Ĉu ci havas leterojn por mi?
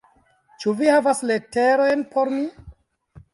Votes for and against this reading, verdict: 1, 2, rejected